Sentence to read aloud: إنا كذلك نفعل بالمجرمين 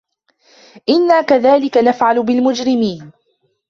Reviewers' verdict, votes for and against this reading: accepted, 2, 0